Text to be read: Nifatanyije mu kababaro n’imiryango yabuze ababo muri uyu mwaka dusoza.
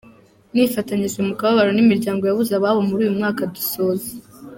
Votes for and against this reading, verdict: 2, 0, accepted